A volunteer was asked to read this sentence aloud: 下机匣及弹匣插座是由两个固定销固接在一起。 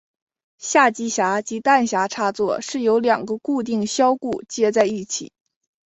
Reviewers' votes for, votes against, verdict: 3, 2, accepted